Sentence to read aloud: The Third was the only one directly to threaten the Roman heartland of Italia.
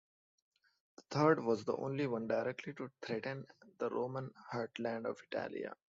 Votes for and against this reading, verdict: 2, 1, accepted